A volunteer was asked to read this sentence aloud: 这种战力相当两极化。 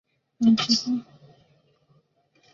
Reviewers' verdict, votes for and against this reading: accepted, 3, 1